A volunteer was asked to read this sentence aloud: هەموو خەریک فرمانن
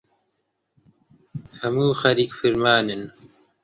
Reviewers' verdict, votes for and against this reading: rejected, 1, 2